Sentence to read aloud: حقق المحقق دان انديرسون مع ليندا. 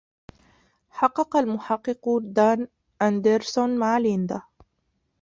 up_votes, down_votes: 0, 2